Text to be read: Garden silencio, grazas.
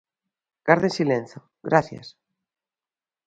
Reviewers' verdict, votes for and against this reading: rejected, 0, 2